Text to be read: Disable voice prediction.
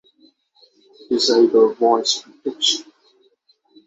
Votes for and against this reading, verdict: 3, 3, rejected